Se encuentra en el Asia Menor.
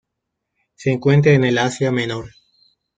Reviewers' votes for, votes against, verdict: 2, 0, accepted